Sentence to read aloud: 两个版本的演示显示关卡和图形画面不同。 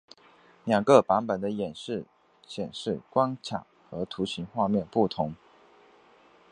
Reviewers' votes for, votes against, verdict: 2, 0, accepted